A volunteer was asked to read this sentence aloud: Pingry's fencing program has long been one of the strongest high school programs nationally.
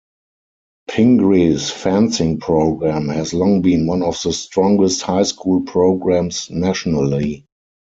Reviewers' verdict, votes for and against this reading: rejected, 2, 4